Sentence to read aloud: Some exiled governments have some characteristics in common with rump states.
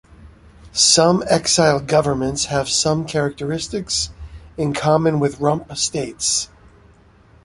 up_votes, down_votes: 3, 0